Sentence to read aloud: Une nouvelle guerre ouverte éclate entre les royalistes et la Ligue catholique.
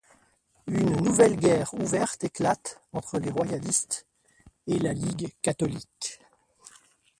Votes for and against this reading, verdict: 0, 2, rejected